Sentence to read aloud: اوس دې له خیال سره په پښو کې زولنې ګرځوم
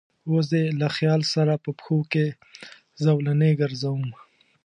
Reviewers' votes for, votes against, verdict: 2, 0, accepted